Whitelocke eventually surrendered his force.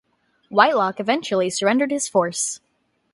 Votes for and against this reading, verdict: 2, 0, accepted